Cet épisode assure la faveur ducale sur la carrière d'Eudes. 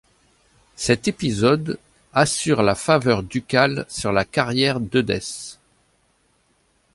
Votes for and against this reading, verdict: 1, 2, rejected